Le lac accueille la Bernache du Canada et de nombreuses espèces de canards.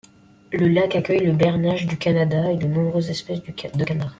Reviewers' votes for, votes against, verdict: 2, 1, accepted